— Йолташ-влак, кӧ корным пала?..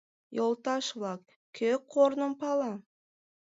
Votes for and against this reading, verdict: 2, 0, accepted